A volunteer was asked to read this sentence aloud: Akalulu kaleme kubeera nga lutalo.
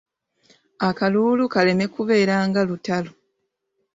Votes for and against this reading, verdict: 0, 2, rejected